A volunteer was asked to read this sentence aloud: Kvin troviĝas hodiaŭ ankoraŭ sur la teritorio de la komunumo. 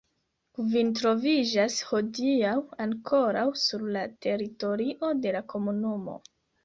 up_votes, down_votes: 2, 0